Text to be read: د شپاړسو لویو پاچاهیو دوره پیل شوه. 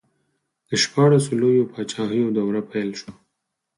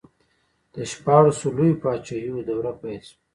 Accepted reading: first